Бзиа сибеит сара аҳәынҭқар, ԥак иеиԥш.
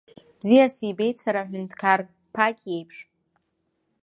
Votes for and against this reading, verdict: 2, 0, accepted